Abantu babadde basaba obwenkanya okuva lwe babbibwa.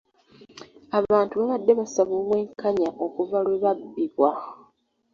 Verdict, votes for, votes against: accepted, 2, 0